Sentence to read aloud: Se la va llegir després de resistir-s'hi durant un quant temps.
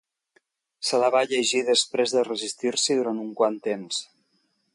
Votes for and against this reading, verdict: 3, 0, accepted